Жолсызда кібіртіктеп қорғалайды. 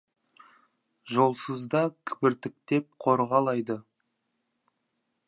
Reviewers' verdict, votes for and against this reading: accepted, 2, 0